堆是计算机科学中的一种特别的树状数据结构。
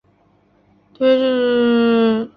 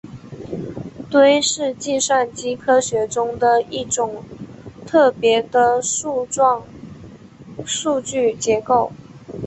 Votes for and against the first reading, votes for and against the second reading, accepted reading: 1, 3, 2, 0, second